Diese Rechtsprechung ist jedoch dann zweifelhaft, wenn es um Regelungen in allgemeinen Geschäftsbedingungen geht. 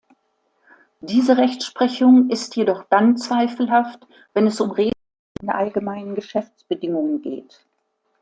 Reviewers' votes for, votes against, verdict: 0, 2, rejected